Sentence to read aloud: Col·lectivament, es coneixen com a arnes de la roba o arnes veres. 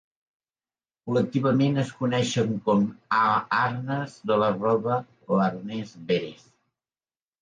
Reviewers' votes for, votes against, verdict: 0, 2, rejected